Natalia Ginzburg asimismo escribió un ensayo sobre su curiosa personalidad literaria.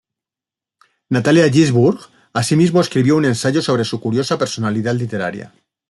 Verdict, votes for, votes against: accepted, 2, 0